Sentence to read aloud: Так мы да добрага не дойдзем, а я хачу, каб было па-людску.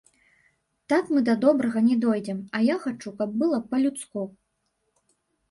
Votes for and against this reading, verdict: 1, 2, rejected